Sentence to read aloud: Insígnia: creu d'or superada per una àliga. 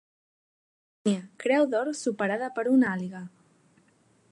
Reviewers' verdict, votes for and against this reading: rejected, 0, 2